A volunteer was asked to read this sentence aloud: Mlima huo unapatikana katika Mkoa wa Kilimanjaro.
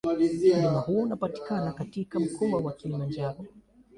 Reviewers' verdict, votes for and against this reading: rejected, 0, 2